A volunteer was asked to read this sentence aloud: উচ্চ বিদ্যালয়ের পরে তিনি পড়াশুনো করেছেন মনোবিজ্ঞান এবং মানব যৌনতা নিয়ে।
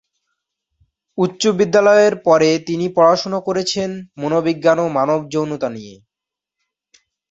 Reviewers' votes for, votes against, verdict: 7, 0, accepted